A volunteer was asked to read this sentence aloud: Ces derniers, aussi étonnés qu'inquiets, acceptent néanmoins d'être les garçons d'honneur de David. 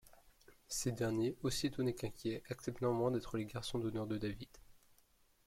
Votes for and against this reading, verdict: 2, 1, accepted